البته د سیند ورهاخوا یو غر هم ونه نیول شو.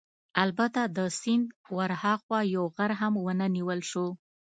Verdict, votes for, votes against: accepted, 2, 0